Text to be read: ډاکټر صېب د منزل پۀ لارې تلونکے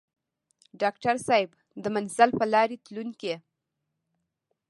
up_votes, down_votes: 1, 2